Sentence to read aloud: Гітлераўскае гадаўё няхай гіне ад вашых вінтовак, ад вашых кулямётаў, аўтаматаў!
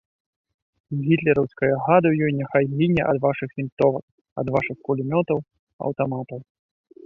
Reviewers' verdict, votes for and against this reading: rejected, 0, 2